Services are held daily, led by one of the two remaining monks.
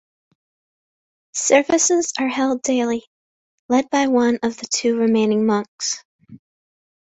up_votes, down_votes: 2, 0